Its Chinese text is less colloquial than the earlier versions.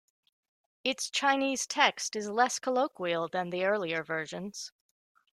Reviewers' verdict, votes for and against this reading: accepted, 2, 0